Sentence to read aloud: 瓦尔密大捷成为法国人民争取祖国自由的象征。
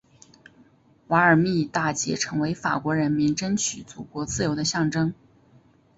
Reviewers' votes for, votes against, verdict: 3, 1, accepted